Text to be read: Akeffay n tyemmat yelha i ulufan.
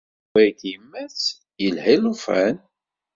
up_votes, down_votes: 1, 2